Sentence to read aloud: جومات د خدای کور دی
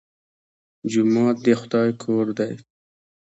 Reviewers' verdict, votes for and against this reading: accepted, 2, 0